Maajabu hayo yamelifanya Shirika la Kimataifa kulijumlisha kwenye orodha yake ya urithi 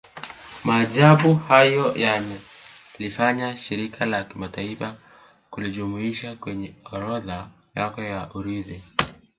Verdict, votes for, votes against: rejected, 0, 3